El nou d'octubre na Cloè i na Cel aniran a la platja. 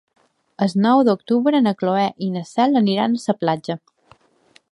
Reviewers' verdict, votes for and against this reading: accepted, 2, 1